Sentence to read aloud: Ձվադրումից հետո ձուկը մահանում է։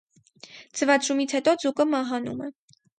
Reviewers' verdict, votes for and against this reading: rejected, 2, 2